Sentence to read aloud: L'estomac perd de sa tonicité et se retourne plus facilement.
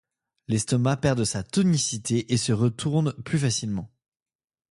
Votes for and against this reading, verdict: 2, 0, accepted